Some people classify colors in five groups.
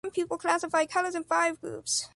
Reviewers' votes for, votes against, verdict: 0, 2, rejected